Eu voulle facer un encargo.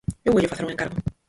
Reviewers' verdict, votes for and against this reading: rejected, 0, 4